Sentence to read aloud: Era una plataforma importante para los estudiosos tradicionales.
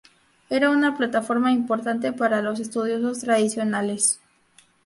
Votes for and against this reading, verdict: 0, 2, rejected